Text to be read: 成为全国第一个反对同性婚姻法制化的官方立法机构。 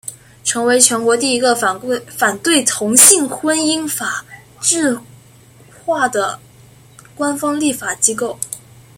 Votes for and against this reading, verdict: 0, 2, rejected